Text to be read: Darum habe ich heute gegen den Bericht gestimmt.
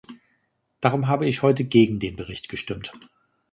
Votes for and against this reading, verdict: 3, 0, accepted